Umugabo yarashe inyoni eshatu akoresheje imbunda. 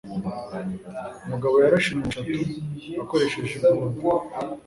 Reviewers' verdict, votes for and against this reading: accepted, 3, 0